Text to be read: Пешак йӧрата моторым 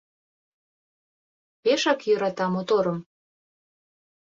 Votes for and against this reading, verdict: 2, 0, accepted